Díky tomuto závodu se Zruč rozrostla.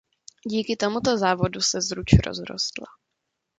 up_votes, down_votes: 2, 0